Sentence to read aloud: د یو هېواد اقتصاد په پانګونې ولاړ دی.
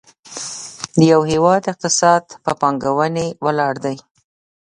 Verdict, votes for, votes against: accepted, 2, 0